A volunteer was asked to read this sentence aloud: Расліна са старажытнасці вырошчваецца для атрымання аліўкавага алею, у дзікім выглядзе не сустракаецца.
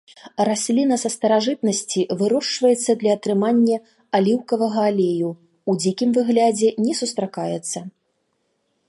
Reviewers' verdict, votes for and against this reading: rejected, 0, 2